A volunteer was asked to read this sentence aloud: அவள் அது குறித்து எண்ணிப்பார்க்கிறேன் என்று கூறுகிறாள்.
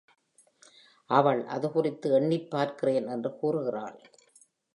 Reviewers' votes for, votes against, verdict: 2, 0, accepted